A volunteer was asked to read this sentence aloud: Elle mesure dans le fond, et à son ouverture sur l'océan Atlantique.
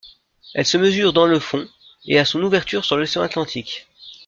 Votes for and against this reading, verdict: 0, 2, rejected